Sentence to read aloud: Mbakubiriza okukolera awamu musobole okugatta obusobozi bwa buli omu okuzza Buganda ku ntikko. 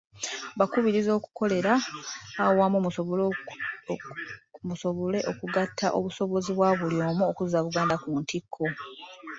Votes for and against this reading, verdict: 1, 2, rejected